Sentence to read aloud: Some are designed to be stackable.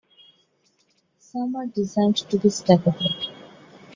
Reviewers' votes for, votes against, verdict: 2, 1, accepted